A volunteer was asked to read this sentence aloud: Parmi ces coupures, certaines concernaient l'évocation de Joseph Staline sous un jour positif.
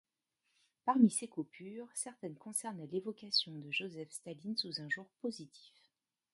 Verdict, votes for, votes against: rejected, 1, 2